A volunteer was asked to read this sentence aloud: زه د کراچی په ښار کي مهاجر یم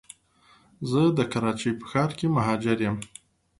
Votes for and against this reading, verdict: 2, 0, accepted